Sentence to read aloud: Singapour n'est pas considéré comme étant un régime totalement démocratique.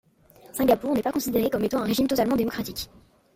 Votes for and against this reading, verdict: 0, 2, rejected